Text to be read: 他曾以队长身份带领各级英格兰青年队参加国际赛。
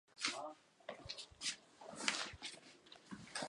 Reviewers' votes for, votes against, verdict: 2, 6, rejected